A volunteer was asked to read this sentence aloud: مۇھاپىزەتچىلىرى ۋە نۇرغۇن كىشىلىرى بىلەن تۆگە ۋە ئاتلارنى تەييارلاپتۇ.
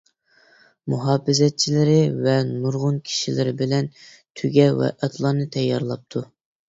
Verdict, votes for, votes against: accepted, 2, 0